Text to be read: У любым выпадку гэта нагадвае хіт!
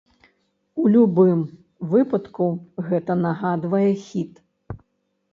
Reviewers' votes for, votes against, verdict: 2, 0, accepted